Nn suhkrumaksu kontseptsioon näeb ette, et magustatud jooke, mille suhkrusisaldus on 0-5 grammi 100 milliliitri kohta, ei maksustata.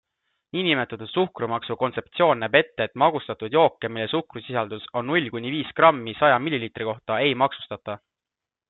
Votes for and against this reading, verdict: 0, 2, rejected